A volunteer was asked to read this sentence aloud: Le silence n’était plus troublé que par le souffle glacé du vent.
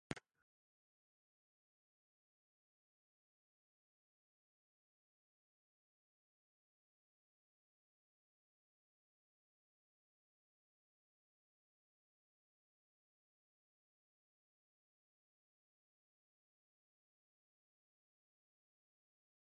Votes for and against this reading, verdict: 0, 2, rejected